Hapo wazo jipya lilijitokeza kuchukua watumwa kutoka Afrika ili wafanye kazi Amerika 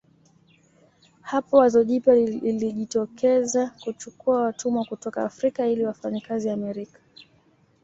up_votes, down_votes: 2, 0